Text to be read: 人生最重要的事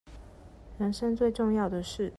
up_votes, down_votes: 2, 0